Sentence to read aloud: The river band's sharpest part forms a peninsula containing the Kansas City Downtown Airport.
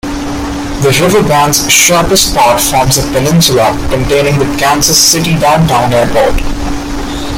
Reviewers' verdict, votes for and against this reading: accepted, 2, 1